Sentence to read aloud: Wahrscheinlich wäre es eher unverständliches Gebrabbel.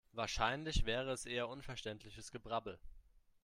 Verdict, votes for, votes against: accepted, 3, 0